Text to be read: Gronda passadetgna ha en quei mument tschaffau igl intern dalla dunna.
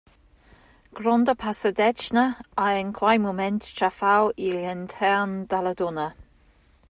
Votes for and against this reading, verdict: 0, 2, rejected